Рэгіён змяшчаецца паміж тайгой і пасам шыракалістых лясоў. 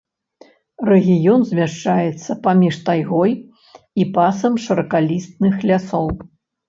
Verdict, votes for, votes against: rejected, 0, 2